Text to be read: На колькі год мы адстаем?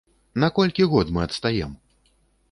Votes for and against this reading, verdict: 2, 0, accepted